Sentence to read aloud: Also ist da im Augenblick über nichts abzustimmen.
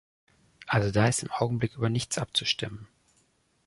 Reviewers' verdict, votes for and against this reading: rejected, 1, 2